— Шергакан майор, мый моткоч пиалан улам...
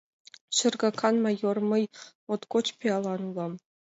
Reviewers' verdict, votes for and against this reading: accepted, 2, 0